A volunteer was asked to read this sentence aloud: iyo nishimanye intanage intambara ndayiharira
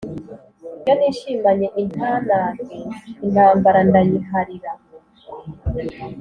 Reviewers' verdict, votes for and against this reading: accepted, 3, 0